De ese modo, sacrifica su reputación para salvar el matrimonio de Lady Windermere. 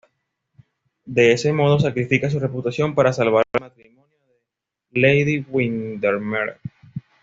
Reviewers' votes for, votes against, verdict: 1, 2, rejected